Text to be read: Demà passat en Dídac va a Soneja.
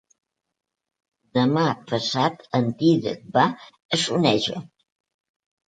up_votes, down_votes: 2, 0